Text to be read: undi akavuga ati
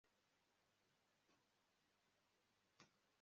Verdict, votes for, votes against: rejected, 1, 2